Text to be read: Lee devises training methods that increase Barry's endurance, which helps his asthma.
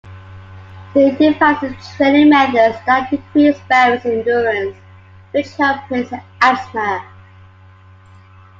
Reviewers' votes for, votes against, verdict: 2, 1, accepted